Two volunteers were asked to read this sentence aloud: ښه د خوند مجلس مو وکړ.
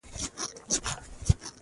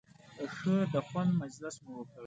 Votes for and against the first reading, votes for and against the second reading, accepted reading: 0, 2, 3, 0, second